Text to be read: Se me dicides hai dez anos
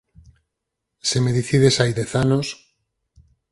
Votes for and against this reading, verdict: 4, 2, accepted